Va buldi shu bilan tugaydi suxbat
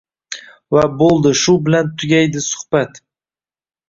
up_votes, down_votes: 1, 2